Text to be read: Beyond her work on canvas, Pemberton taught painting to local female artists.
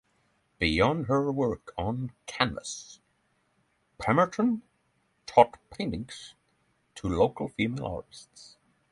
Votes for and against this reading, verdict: 3, 6, rejected